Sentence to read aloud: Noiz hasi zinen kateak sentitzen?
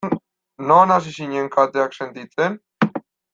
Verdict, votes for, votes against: rejected, 1, 2